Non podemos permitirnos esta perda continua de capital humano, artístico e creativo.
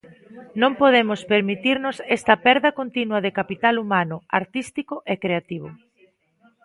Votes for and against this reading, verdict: 2, 0, accepted